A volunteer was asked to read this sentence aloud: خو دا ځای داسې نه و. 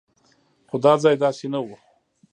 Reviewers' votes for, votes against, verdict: 1, 2, rejected